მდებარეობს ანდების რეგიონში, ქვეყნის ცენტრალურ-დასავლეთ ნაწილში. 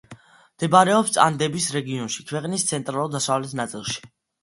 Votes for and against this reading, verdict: 2, 0, accepted